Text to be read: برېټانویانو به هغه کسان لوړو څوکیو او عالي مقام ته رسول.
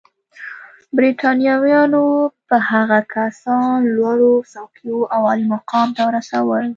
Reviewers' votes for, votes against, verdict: 2, 0, accepted